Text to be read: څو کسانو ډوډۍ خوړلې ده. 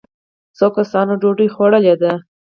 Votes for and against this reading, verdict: 2, 4, rejected